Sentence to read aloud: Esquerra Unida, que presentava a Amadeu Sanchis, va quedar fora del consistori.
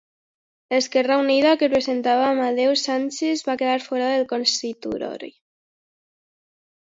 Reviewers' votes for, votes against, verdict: 0, 2, rejected